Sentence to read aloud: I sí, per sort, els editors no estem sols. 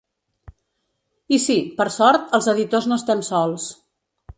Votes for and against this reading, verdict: 1, 2, rejected